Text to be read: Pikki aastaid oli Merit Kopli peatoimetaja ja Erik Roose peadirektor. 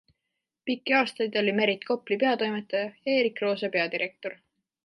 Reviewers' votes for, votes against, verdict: 2, 0, accepted